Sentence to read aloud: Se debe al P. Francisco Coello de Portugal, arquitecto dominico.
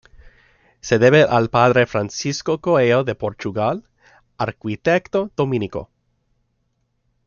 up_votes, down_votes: 0, 2